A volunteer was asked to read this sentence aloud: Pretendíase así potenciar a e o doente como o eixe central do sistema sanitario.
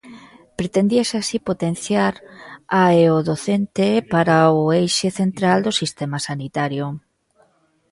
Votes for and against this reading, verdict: 1, 3, rejected